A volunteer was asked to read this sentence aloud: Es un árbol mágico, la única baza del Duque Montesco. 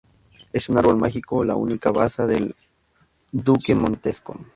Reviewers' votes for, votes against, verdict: 2, 2, rejected